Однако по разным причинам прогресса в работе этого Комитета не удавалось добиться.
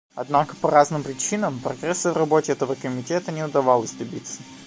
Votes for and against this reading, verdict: 2, 1, accepted